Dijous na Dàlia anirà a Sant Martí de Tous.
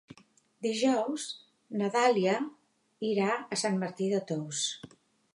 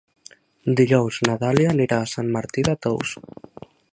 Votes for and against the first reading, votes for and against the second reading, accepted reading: 0, 3, 4, 0, second